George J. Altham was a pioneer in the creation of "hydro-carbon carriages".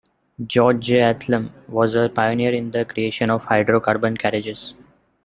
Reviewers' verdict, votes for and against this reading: rejected, 0, 2